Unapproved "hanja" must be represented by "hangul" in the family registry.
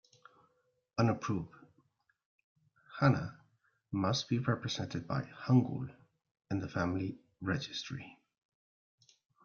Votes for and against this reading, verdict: 0, 2, rejected